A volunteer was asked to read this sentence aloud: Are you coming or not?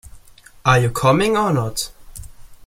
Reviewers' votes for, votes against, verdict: 2, 0, accepted